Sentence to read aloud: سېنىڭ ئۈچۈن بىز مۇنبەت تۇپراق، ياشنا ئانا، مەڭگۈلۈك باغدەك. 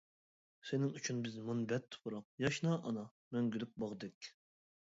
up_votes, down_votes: 2, 0